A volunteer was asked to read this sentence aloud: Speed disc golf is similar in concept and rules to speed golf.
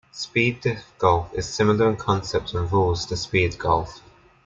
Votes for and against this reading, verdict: 2, 1, accepted